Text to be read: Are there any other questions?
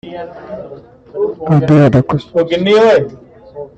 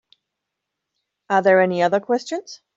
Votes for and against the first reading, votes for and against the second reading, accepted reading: 0, 2, 2, 0, second